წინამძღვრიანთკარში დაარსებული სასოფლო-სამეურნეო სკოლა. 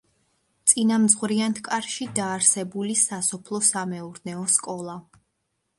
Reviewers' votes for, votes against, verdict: 2, 0, accepted